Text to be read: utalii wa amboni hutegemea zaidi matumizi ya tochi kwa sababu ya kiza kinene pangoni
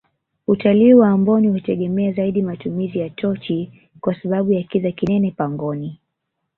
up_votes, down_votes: 0, 2